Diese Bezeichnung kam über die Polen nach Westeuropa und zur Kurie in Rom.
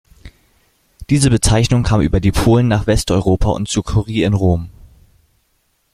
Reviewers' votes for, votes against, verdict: 0, 2, rejected